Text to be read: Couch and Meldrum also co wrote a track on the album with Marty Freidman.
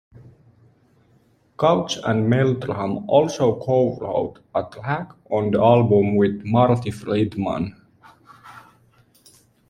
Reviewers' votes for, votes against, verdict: 2, 1, accepted